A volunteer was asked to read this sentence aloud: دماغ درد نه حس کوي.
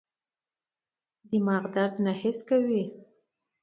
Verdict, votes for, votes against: accepted, 2, 0